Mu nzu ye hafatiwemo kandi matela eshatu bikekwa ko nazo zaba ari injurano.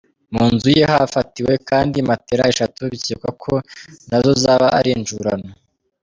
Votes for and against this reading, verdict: 1, 2, rejected